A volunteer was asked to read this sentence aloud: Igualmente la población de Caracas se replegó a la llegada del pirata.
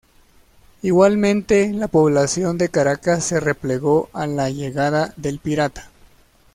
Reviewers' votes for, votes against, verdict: 2, 0, accepted